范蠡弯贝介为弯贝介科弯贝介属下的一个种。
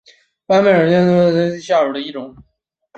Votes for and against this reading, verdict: 1, 2, rejected